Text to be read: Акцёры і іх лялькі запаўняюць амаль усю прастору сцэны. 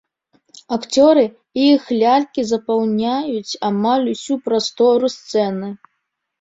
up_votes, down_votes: 2, 0